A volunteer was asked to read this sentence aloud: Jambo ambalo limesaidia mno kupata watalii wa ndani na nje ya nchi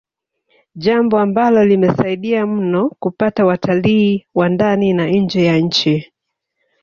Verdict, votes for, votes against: rejected, 1, 2